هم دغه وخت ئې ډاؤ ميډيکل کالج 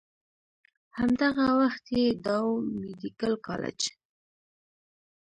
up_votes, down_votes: 0, 2